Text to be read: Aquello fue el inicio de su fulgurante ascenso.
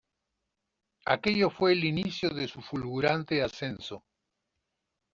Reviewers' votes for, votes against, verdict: 2, 1, accepted